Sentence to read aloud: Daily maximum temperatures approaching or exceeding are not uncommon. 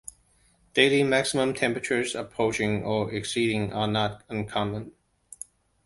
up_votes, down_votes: 2, 0